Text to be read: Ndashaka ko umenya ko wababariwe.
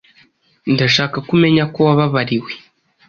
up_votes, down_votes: 2, 0